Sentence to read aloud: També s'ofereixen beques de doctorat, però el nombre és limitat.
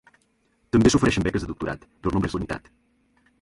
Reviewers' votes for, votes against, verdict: 0, 2, rejected